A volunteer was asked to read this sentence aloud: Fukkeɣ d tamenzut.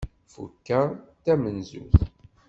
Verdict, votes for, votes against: accepted, 2, 0